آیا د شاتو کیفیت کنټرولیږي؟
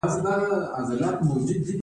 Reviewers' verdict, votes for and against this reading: accepted, 2, 1